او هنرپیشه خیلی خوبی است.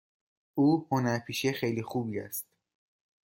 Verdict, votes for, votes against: accepted, 2, 0